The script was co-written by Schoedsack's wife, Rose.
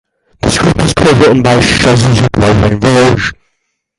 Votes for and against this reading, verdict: 0, 4, rejected